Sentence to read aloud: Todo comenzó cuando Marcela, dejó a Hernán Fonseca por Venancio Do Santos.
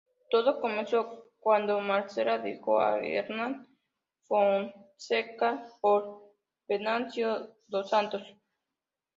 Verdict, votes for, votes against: rejected, 1, 2